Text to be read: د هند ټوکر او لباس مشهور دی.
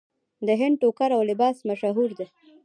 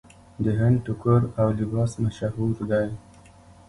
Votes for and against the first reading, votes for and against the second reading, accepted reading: 0, 2, 2, 1, second